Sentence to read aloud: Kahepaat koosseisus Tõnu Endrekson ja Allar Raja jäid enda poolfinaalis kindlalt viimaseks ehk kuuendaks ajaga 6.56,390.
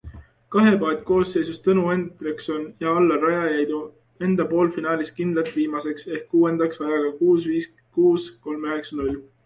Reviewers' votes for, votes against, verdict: 0, 2, rejected